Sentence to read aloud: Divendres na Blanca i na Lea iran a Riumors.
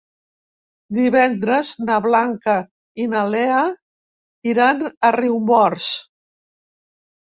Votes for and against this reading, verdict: 3, 0, accepted